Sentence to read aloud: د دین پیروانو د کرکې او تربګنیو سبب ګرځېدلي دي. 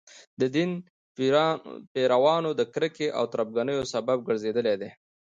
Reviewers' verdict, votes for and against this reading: accepted, 2, 0